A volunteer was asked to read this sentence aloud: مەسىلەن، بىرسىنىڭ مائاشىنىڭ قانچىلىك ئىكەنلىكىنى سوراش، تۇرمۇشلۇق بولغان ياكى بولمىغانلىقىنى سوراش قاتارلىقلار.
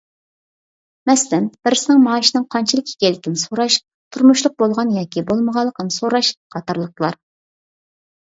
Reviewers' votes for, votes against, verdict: 2, 0, accepted